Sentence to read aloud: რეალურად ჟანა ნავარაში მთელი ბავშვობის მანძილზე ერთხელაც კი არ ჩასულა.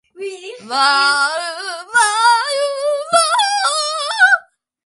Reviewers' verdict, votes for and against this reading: rejected, 0, 2